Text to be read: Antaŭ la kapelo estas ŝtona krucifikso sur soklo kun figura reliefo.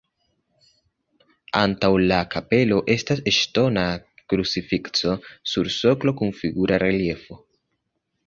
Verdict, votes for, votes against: rejected, 1, 2